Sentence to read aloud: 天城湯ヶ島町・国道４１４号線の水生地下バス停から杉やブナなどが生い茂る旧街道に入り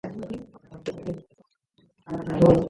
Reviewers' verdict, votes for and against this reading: rejected, 0, 2